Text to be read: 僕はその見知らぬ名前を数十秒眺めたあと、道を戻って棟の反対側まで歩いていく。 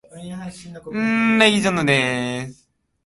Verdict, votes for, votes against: rejected, 0, 2